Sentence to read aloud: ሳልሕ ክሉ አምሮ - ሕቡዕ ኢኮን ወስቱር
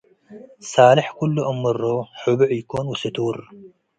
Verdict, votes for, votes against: accepted, 2, 0